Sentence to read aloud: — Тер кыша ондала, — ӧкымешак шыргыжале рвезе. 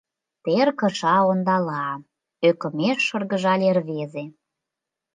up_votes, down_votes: 1, 2